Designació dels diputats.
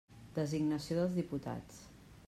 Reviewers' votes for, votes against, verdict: 3, 0, accepted